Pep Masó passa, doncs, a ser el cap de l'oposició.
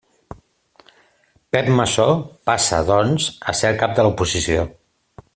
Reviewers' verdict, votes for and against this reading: accepted, 2, 0